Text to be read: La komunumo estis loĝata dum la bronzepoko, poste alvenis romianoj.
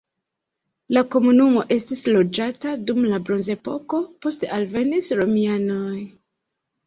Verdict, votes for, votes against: accepted, 2, 0